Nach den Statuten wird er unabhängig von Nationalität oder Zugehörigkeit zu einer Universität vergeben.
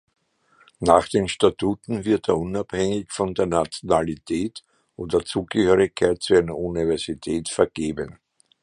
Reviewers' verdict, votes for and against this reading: rejected, 0, 2